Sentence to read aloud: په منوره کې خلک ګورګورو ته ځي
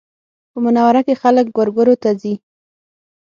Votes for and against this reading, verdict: 6, 0, accepted